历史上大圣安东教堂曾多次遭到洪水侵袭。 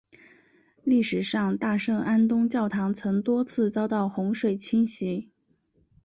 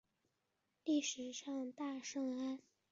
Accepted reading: first